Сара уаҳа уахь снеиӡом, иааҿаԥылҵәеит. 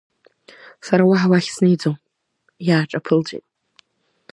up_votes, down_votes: 1, 2